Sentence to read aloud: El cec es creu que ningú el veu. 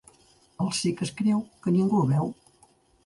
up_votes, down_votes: 3, 0